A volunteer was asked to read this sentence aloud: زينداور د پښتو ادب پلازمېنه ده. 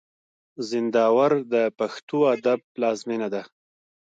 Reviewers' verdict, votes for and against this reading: accepted, 2, 0